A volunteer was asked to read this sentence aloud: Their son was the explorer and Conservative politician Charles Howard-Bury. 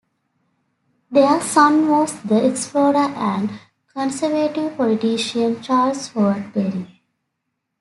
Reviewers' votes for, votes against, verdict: 2, 0, accepted